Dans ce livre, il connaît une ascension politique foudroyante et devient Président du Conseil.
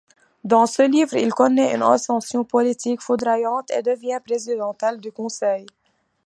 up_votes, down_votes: 0, 2